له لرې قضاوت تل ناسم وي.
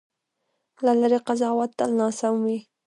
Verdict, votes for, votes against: rejected, 1, 2